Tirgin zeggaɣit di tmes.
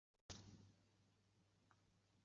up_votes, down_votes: 1, 2